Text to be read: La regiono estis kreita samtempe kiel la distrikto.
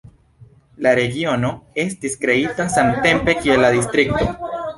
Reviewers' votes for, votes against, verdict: 1, 2, rejected